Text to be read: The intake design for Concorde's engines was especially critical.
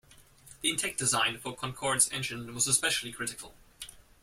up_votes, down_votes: 2, 1